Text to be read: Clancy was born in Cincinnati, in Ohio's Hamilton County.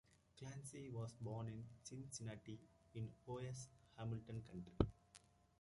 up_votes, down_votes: 1, 2